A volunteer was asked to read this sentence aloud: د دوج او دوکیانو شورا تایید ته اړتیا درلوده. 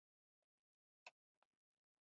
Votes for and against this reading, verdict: 1, 2, rejected